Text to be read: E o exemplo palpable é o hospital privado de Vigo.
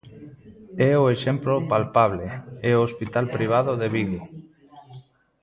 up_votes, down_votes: 1, 2